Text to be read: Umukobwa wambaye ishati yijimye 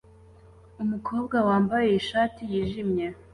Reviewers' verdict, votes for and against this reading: accepted, 2, 0